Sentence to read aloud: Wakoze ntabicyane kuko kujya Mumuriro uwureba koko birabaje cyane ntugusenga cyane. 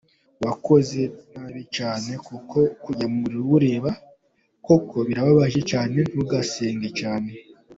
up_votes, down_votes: 2, 0